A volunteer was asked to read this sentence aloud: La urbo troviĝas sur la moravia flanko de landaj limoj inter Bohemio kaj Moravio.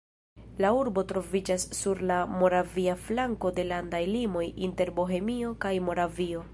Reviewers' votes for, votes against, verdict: 1, 2, rejected